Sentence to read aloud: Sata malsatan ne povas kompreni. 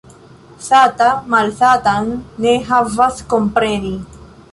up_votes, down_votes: 1, 2